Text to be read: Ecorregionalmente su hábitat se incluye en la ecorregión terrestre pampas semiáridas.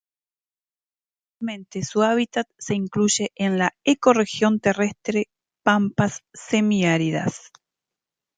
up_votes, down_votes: 1, 2